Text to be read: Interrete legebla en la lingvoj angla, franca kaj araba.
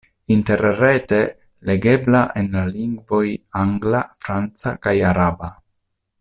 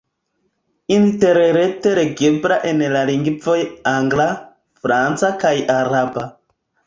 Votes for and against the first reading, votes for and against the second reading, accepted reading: 2, 1, 1, 3, first